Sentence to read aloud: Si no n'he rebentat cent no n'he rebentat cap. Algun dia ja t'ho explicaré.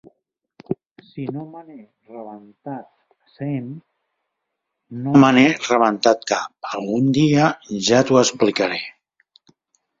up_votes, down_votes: 0, 3